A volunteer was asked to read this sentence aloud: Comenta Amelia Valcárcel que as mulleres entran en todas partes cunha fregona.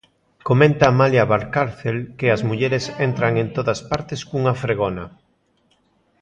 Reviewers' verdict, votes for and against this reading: rejected, 1, 2